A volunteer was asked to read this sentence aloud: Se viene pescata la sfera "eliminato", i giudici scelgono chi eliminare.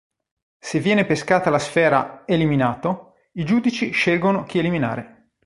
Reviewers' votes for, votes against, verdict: 2, 0, accepted